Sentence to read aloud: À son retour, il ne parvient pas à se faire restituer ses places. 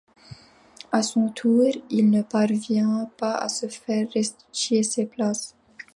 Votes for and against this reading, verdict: 0, 2, rejected